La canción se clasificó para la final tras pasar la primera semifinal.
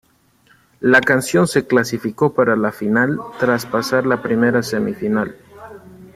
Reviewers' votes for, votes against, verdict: 2, 0, accepted